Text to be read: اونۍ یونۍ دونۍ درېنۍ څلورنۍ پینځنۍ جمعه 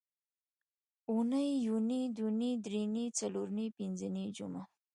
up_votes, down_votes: 2, 1